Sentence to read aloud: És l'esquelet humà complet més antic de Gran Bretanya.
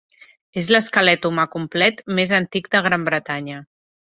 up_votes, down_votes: 2, 0